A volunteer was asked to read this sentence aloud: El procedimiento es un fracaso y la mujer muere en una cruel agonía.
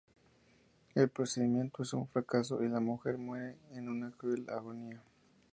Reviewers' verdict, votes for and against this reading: accepted, 2, 0